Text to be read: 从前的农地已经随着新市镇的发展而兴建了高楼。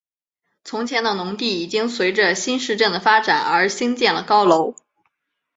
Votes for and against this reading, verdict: 5, 0, accepted